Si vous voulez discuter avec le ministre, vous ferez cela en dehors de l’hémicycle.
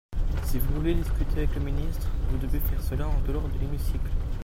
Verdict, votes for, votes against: rejected, 0, 2